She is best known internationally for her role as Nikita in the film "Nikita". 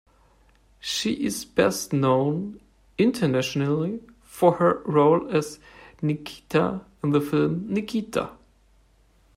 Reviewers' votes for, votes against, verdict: 2, 0, accepted